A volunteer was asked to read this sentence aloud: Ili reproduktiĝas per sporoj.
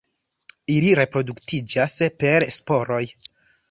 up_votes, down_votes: 1, 2